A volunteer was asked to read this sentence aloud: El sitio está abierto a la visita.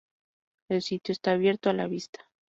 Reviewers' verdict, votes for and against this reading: rejected, 0, 2